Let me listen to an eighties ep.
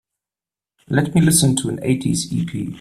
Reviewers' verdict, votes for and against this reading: accepted, 2, 1